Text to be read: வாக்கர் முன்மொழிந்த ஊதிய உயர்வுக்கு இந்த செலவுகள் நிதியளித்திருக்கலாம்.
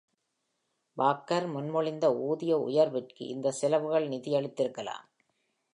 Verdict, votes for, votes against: accepted, 2, 0